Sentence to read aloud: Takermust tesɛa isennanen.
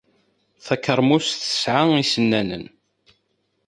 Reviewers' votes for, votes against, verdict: 2, 0, accepted